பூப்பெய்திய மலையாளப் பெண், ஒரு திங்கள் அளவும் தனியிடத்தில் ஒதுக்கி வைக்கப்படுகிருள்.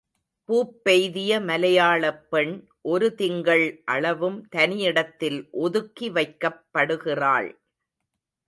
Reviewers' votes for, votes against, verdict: 1, 2, rejected